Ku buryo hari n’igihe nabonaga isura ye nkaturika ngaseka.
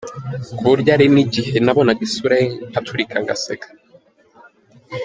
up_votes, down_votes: 2, 0